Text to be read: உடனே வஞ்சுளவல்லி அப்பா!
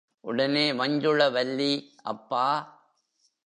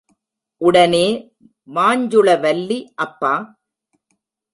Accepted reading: first